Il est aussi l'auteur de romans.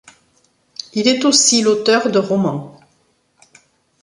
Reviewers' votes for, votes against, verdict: 2, 0, accepted